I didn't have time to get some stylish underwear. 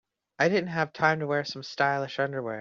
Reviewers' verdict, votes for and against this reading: rejected, 1, 2